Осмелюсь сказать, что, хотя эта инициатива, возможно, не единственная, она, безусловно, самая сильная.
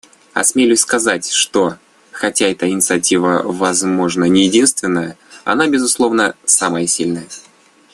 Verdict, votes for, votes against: accepted, 2, 0